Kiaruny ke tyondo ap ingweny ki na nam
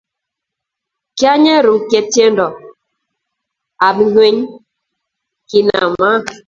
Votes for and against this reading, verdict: 0, 2, rejected